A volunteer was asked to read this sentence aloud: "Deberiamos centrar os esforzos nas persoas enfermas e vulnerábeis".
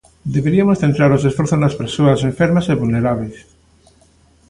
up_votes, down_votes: 1, 2